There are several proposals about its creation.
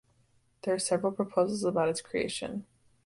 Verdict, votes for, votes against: accepted, 2, 0